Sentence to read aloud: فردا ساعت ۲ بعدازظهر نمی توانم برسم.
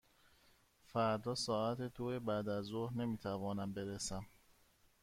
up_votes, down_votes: 0, 2